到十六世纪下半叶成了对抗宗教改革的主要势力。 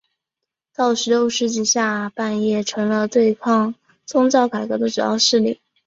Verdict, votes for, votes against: accepted, 2, 0